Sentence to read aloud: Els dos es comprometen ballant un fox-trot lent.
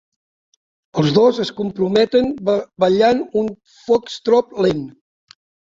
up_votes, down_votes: 1, 2